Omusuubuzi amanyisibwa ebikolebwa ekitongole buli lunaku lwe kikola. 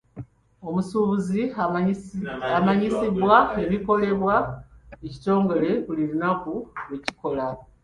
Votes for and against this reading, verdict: 1, 2, rejected